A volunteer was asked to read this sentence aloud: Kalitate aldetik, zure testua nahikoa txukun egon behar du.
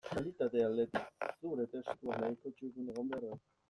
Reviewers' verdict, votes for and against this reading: rejected, 1, 2